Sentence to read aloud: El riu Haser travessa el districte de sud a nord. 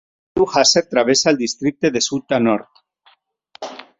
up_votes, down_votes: 1, 2